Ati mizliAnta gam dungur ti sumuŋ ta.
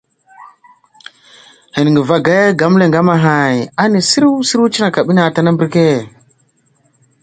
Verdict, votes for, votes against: rejected, 0, 2